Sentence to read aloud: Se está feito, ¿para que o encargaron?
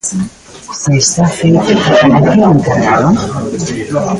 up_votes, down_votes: 1, 2